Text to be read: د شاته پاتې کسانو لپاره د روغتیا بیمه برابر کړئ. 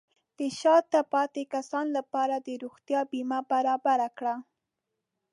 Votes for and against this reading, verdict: 0, 2, rejected